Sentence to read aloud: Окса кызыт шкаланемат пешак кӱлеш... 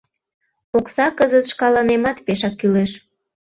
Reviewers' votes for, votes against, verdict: 2, 0, accepted